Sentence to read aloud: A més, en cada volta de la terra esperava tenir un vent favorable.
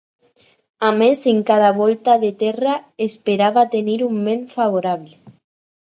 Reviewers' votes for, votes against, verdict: 2, 4, rejected